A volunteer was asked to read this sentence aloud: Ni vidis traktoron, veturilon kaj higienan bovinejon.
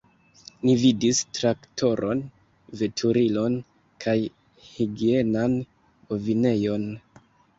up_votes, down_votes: 2, 0